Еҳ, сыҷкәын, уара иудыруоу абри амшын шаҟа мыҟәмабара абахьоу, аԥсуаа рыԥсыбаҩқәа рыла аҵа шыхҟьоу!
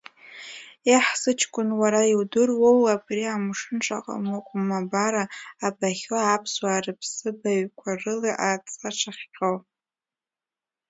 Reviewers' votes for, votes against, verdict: 2, 0, accepted